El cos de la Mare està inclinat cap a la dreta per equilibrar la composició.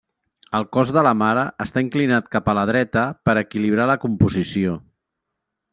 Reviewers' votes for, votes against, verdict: 3, 0, accepted